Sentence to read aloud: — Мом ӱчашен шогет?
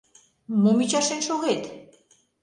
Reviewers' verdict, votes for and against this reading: accepted, 2, 0